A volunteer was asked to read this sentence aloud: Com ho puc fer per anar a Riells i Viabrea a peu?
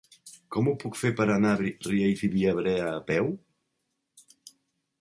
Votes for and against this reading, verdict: 0, 2, rejected